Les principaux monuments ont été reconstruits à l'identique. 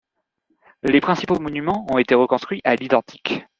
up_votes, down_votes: 2, 0